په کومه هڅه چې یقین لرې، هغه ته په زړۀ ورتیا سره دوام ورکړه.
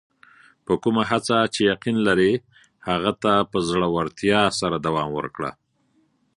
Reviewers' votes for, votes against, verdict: 2, 0, accepted